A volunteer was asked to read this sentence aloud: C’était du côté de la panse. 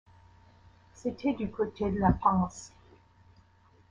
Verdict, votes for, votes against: accepted, 2, 0